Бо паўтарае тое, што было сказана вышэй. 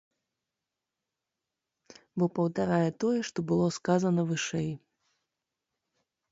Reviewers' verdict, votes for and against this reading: accepted, 2, 0